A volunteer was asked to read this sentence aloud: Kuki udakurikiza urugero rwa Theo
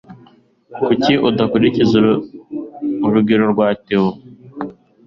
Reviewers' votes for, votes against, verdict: 1, 2, rejected